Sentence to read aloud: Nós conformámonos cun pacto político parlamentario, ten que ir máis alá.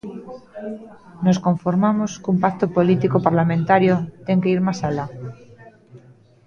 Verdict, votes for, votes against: rejected, 0, 2